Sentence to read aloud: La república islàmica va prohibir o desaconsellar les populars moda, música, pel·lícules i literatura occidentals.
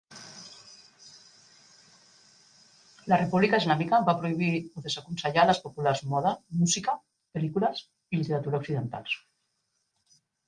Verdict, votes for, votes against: rejected, 0, 2